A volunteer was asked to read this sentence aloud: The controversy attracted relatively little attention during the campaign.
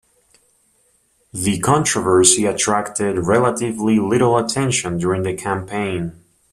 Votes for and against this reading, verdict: 4, 0, accepted